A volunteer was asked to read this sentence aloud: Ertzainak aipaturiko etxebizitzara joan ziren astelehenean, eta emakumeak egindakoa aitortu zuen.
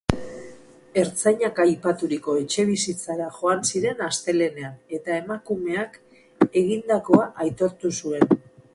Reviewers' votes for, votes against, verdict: 4, 2, accepted